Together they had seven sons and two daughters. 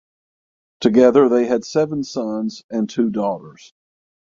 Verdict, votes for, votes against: accepted, 6, 0